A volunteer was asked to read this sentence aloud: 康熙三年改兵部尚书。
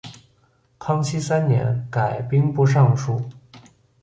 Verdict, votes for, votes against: accepted, 2, 0